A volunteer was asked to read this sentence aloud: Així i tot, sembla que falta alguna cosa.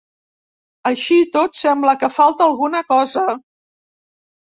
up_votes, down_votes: 2, 0